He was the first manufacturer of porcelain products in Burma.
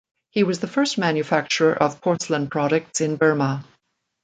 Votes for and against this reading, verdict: 2, 0, accepted